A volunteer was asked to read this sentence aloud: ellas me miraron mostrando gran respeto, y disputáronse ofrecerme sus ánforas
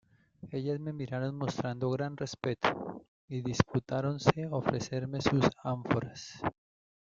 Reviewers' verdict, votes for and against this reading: rejected, 0, 2